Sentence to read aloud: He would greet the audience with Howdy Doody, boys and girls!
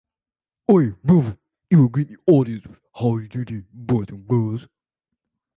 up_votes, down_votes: 0, 2